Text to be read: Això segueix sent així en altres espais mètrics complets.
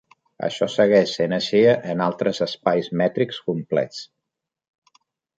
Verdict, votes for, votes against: accepted, 3, 0